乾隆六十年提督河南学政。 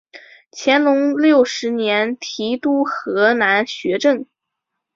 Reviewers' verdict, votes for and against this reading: accepted, 2, 0